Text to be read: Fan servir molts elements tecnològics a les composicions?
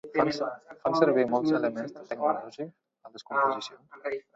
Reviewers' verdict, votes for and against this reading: rejected, 0, 2